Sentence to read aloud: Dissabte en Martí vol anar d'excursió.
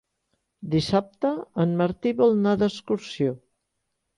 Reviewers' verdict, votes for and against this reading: rejected, 1, 2